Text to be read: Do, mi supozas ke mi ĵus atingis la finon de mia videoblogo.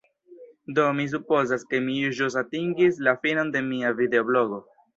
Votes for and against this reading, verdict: 1, 2, rejected